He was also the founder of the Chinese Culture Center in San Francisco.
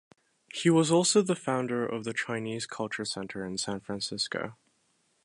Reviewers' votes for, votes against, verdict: 2, 0, accepted